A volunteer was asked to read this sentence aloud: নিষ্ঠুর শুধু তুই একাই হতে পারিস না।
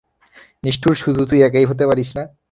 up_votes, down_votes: 0, 3